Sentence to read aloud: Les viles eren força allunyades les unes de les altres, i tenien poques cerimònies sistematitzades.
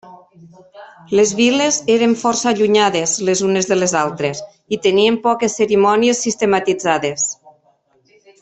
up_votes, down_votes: 1, 2